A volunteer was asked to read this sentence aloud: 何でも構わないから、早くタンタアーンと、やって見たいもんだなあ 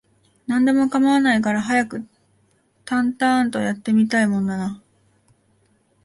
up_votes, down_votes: 2, 1